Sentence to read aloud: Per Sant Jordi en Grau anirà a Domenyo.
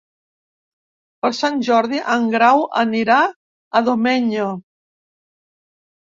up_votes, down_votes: 2, 0